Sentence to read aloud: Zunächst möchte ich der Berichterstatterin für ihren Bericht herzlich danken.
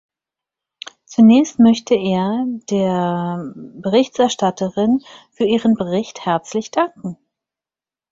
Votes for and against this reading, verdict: 0, 4, rejected